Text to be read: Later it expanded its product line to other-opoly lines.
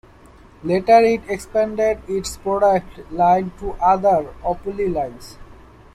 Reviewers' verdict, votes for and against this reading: rejected, 1, 3